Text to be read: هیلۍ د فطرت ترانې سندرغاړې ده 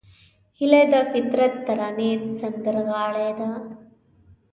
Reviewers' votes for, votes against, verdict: 2, 0, accepted